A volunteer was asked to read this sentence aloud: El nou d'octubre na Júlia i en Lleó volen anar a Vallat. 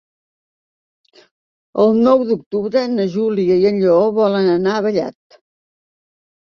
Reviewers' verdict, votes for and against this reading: accepted, 2, 0